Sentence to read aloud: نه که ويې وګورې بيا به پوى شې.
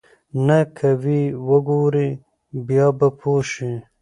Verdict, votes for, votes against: accepted, 2, 1